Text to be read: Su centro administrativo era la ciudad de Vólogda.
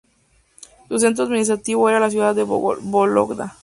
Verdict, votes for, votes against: rejected, 0, 2